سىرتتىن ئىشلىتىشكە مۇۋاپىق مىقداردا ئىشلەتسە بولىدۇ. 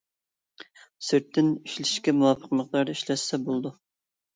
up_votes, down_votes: 1, 2